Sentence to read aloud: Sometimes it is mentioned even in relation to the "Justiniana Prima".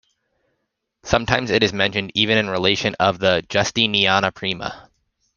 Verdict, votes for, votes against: rejected, 1, 2